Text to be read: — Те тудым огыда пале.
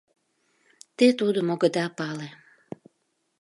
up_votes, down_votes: 2, 0